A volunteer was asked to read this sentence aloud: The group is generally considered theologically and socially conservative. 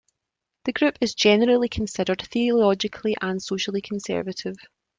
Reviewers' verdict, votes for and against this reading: accepted, 2, 0